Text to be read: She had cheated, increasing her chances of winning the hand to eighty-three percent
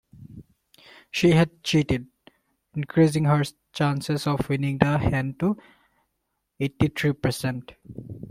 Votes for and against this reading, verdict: 1, 2, rejected